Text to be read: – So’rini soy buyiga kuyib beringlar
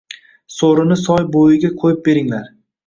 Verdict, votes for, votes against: accepted, 2, 0